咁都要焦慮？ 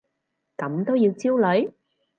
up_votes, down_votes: 4, 0